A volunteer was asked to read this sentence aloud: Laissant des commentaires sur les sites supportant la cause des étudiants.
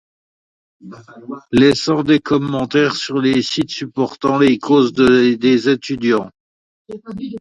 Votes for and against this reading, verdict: 0, 2, rejected